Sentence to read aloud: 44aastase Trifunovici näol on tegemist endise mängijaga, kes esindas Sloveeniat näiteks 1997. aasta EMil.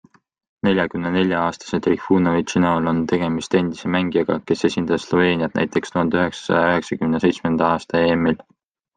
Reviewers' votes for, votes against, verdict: 0, 2, rejected